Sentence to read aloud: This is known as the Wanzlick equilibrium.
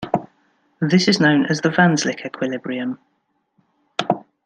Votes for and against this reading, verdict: 2, 0, accepted